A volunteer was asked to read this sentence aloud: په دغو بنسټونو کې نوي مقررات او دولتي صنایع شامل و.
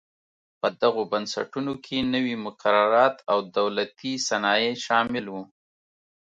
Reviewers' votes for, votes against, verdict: 2, 0, accepted